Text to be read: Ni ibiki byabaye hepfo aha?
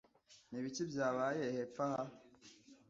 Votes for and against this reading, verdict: 2, 0, accepted